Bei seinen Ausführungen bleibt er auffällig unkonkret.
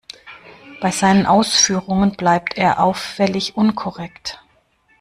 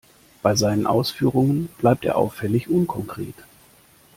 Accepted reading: second